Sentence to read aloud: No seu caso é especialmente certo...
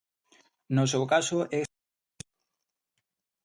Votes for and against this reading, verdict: 0, 2, rejected